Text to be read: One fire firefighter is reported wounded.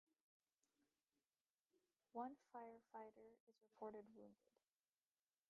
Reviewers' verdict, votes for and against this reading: rejected, 0, 3